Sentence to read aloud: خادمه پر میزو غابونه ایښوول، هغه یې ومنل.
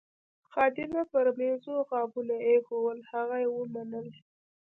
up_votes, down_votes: 0, 2